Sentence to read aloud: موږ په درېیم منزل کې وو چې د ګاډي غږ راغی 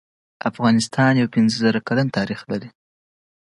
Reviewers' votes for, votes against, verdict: 2, 1, accepted